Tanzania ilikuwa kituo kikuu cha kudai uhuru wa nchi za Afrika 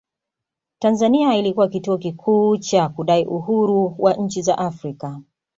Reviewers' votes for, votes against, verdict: 2, 0, accepted